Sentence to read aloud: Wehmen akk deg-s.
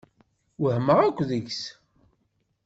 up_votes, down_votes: 1, 2